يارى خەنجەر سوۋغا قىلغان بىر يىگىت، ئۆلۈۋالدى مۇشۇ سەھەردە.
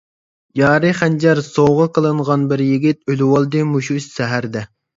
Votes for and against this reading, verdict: 0, 2, rejected